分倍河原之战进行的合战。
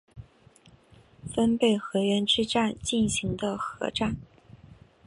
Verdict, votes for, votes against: accepted, 3, 0